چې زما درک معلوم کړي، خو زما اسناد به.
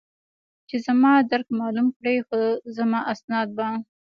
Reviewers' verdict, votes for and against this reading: accepted, 2, 0